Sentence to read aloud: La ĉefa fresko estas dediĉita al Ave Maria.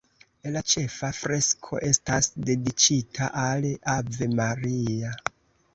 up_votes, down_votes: 2, 0